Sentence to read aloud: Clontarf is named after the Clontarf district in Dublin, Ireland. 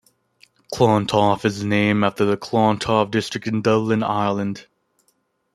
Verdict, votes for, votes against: accepted, 2, 0